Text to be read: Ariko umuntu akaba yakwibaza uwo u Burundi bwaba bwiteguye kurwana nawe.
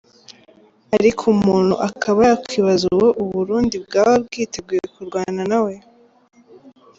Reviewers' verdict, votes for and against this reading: rejected, 0, 2